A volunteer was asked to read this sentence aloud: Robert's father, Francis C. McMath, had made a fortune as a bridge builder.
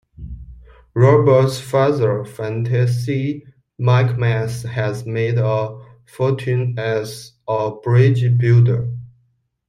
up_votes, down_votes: 0, 2